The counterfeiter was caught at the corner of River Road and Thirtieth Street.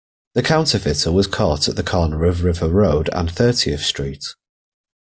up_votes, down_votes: 2, 0